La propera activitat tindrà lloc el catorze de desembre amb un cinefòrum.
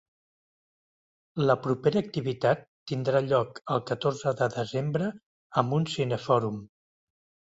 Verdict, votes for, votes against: accepted, 2, 0